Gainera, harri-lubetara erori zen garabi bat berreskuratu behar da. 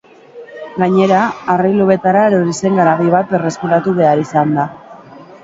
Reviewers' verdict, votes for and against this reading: rejected, 1, 2